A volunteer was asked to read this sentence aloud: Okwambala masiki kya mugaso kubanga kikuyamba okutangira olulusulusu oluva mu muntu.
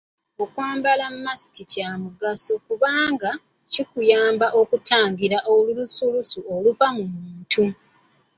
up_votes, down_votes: 2, 0